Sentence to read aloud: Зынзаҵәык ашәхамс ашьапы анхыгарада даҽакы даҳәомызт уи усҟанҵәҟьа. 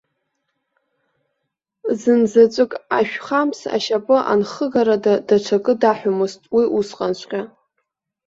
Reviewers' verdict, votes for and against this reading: rejected, 1, 2